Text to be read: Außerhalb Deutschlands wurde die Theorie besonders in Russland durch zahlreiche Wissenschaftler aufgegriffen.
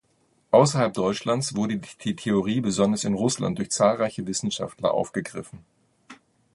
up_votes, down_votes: 0, 2